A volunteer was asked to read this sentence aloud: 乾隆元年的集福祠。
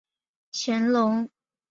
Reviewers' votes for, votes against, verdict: 0, 2, rejected